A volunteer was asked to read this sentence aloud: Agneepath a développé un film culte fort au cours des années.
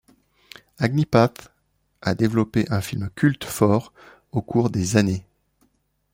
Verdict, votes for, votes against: accepted, 2, 0